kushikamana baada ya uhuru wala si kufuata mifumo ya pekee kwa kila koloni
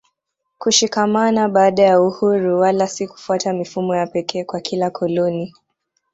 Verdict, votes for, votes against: accepted, 2, 0